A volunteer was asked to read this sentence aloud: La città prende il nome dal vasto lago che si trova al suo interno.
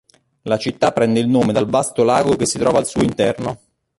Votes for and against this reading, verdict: 2, 0, accepted